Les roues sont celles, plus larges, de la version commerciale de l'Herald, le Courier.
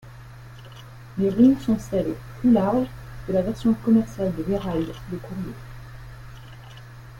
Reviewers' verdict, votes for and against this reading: accepted, 2, 0